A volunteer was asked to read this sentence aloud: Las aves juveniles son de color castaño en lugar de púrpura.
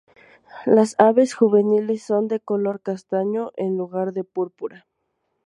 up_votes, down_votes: 2, 0